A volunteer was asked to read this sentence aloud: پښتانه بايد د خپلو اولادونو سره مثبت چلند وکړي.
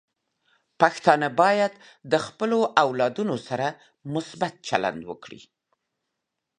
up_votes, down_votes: 2, 0